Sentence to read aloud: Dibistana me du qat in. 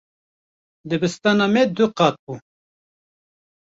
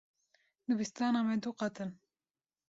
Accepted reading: second